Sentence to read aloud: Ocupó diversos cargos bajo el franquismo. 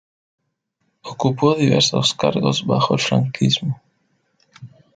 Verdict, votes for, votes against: rejected, 1, 2